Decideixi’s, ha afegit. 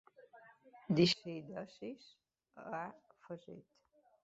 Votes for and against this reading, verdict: 1, 2, rejected